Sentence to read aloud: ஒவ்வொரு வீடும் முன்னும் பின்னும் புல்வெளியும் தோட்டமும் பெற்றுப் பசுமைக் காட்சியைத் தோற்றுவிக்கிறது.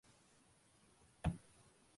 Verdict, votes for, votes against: rejected, 0, 2